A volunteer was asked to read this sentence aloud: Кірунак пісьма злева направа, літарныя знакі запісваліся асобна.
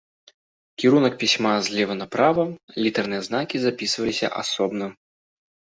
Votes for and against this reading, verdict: 2, 0, accepted